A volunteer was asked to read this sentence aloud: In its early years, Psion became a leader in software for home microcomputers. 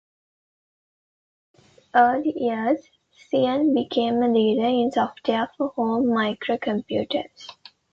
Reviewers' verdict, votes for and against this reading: rejected, 0, 2